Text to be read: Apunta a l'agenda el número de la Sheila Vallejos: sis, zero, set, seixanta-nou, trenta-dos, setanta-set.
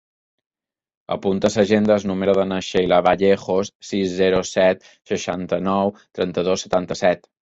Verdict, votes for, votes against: rejected, 1, 3